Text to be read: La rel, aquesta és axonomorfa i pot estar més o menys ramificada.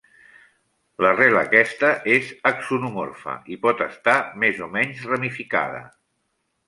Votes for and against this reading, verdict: 2, 1, accepted